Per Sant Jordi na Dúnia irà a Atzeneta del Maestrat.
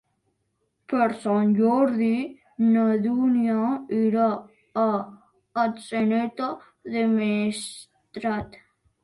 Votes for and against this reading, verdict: 2, 1, accepted